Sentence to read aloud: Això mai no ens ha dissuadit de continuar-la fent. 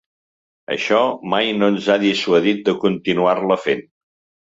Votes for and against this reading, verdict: 3, 0, accepted